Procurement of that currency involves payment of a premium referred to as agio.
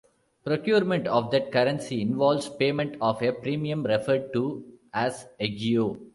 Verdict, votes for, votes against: rejected, 0, 2